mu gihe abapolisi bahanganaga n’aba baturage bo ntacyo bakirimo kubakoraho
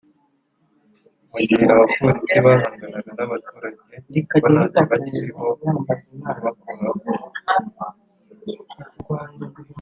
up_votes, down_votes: 1, 2